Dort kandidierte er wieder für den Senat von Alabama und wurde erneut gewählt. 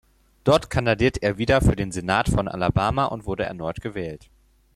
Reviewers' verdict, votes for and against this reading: rejected, 0, 4